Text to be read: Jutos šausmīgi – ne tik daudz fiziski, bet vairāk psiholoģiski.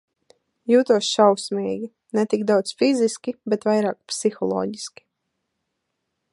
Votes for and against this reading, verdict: 1, 2, rejected